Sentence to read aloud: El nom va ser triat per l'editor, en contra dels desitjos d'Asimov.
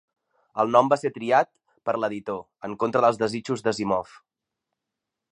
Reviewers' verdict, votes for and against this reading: accepted, 2, 0